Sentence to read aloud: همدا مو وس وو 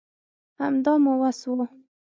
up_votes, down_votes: 6, 0